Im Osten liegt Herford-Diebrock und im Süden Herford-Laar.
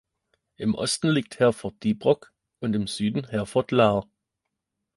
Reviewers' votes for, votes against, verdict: 2, 0, accepted